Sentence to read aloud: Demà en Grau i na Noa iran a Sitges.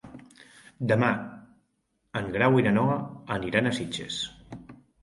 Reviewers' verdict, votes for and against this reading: rejected, 0, 3